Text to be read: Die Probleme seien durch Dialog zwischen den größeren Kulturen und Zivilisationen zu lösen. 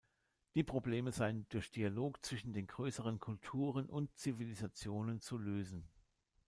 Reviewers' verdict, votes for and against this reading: accepted, 2, 0